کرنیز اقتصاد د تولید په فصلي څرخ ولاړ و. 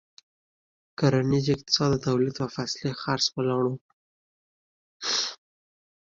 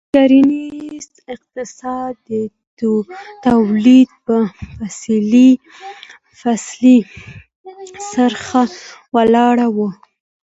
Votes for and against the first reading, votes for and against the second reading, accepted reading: 2, 0, 1, 2, first